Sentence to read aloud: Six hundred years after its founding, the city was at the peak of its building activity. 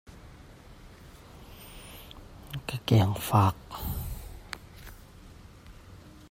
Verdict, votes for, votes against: rejected, 0, 2